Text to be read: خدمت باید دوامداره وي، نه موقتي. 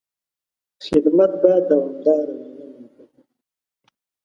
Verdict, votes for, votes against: rejected, 0, 2